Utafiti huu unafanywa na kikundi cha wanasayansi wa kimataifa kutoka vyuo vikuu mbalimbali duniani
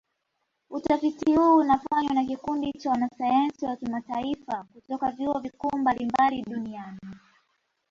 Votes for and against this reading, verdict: 1, 2, rejected